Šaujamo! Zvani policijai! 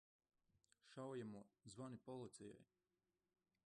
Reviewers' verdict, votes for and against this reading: rejected, 1, 2